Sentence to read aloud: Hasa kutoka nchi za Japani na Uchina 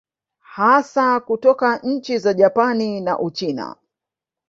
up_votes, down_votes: 1, 2